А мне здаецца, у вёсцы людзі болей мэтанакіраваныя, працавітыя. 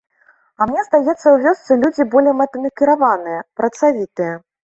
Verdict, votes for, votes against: accepted, 2, 1